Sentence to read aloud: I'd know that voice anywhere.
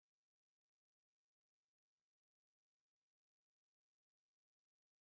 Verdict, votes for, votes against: rejected, 0, 2